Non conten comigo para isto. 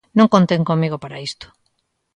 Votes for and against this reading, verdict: 2, 0, accepted